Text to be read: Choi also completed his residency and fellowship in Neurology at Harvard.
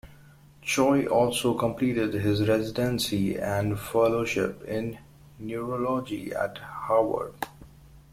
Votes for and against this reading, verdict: 1, 2, rejected